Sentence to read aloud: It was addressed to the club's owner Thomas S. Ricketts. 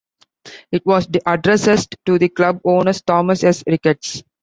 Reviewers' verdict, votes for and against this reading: rejected, 0, 2